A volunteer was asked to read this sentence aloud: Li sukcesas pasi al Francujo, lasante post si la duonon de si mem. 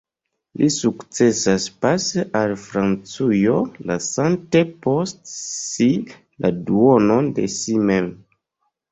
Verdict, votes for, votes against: accepted, 2, 0